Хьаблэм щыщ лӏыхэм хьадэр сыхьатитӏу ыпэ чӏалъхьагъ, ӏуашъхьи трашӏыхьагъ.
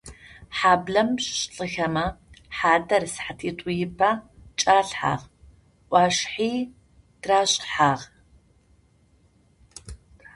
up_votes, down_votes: 0, 2